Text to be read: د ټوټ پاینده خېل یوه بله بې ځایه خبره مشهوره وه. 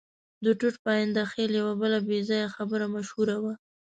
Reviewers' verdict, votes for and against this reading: accepted, 2, 0